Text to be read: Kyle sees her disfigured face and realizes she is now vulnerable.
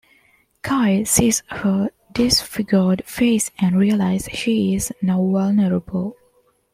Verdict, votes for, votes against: accepted, 2, 1